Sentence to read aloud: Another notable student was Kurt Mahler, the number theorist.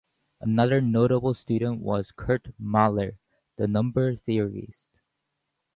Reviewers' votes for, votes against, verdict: 4, 0, accepted